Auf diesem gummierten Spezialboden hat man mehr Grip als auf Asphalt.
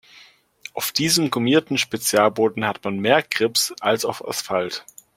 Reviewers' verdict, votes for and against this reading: rejected, 0, 2